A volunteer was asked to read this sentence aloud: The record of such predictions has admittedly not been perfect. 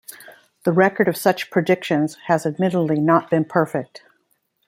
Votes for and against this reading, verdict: 2, 0, accepted